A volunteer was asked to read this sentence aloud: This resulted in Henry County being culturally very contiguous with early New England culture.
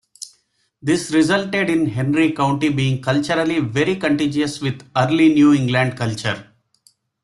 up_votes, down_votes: 2, 0